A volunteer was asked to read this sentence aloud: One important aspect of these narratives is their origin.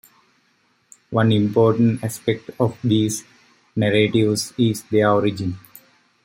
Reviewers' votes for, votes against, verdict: 2, 1, accepted